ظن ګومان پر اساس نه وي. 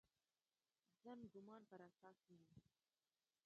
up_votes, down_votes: 0, 2